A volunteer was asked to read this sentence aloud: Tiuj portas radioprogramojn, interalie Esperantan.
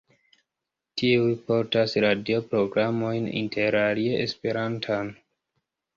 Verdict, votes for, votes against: accepted, 2, 1